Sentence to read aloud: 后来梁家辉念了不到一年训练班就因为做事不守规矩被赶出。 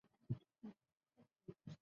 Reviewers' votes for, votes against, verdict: 1, 2, rejected